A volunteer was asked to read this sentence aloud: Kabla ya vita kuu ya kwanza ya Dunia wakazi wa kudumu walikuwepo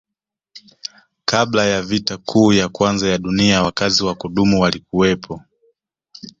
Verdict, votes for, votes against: accepted, 2, 0